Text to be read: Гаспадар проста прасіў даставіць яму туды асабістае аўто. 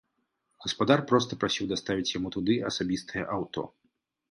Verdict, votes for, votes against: accepted, 2, 0